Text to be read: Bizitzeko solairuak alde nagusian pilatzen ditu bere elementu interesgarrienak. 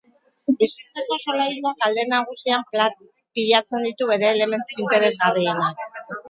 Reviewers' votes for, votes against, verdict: 0, 12, rejected